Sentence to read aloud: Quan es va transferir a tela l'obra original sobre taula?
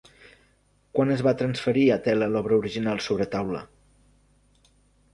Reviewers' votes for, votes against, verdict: 2, 0, accepted